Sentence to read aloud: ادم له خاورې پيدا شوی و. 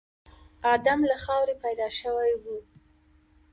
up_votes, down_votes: 3, 0